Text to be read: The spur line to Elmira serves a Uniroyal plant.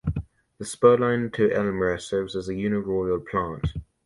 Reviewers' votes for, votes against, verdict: 1, 2, rejected